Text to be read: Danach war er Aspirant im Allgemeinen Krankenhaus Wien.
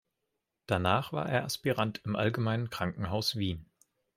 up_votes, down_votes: 2, 0